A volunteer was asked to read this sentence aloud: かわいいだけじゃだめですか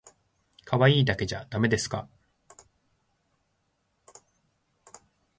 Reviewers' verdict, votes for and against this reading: accepted, 2, 0